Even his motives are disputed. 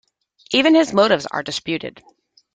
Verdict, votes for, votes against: accepted, 2, 0